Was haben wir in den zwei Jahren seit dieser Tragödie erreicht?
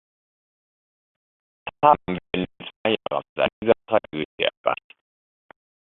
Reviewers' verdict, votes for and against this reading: rejected, 0, 2